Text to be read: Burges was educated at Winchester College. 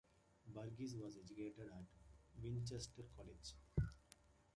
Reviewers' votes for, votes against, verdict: 2, 0, accepted